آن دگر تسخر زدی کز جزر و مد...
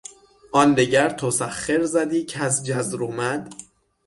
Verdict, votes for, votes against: rejected, 3, 3